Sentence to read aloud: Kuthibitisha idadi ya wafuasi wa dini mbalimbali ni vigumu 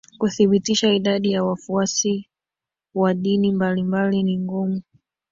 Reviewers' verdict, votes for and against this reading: rejected, 1, 2